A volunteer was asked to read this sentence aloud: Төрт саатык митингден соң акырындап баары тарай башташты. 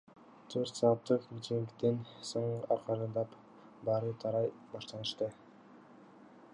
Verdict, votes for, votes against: accepted, 2, 0